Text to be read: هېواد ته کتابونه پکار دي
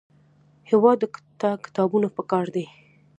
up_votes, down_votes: 2, 0